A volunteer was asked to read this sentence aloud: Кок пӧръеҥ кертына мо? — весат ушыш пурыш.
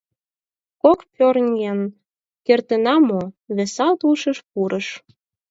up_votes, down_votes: 4, 8